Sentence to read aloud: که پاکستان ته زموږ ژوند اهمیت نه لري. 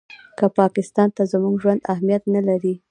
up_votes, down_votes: 2, 0